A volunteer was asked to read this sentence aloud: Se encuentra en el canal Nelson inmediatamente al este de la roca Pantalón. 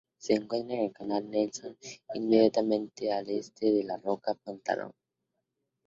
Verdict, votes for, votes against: accepted, 2, 0